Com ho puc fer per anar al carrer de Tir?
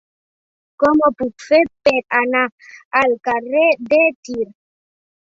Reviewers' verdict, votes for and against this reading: accepted, 2, 1